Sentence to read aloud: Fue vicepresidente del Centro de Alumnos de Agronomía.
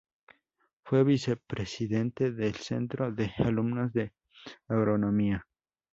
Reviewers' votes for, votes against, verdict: 0, 2, rejected